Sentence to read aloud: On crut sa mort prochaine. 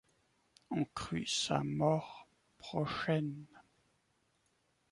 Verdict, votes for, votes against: accepted, 2, 0